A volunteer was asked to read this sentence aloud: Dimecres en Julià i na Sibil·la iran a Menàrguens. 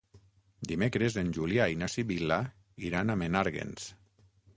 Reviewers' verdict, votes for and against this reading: accepted, 9, 0